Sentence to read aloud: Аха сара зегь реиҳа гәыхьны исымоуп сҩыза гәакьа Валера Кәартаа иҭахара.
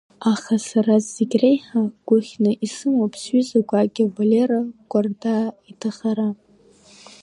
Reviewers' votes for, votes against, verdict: 2, 1, accepted